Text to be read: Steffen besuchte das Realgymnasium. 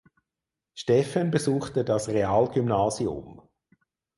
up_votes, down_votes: 6, 0